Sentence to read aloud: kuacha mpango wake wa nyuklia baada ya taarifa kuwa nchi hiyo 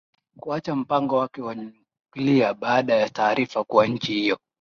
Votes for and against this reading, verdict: 2, 0, accepted